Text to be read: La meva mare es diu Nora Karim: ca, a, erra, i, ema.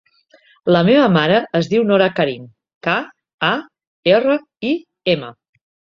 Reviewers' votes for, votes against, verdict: 2, 0, accepted